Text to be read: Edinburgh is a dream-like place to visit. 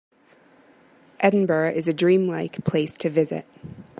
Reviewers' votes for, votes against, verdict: 2, 0, accepted